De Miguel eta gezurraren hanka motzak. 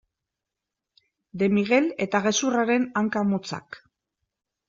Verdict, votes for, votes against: accepted, 2, 0